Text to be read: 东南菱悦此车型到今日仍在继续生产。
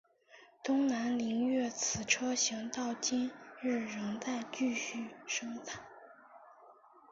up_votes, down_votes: 3, 0